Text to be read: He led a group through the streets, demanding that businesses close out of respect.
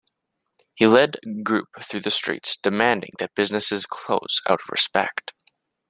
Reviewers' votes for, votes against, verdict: 0, 2, rejected